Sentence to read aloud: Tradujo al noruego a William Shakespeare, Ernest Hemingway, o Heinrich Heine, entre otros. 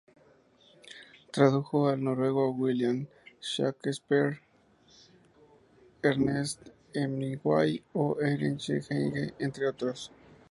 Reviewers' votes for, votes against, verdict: 2, 0, accepted